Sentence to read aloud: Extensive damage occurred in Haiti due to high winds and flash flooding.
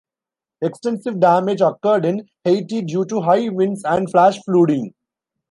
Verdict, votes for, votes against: rejected, 1, 2